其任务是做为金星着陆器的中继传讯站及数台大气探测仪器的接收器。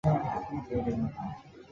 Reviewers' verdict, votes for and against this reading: rejected, 0, 2